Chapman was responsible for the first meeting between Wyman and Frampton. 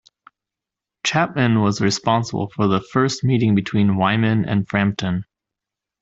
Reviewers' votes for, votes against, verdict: 2, 0, accepted